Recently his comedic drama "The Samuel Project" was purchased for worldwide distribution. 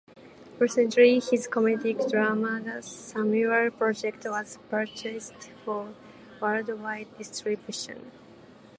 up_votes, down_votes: 0, 2